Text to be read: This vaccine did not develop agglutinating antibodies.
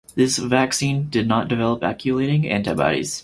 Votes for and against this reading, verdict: 4, 0, accepted